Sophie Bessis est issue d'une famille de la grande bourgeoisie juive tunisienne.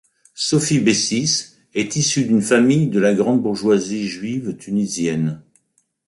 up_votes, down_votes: 2, 0